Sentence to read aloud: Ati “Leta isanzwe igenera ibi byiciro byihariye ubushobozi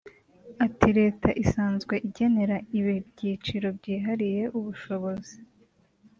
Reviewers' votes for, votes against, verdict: 0, 2, rejected